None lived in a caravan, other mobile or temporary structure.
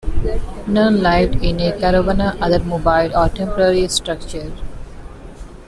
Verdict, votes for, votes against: rejected, 0, 2